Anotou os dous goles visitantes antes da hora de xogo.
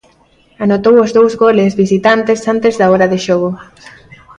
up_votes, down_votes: 2, 0